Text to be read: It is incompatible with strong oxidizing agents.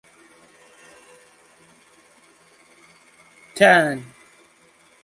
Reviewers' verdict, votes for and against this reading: rejected, 0, 2